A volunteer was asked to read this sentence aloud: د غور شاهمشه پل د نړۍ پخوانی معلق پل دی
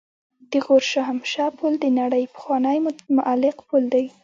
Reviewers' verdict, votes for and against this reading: rejected, 1, 2